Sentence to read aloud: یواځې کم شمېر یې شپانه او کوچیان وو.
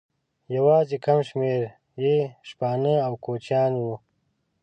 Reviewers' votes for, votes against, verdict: 0, 2, rejected